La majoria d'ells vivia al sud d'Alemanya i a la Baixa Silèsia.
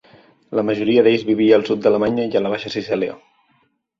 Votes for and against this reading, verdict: 1, 2, rejected